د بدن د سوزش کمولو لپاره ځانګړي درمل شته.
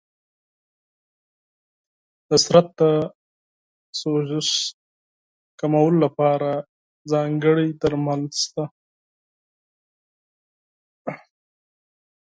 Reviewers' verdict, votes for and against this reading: rejected, 2, 4